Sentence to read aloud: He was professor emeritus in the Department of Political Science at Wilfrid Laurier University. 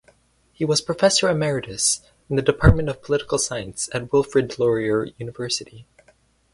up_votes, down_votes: 4, 2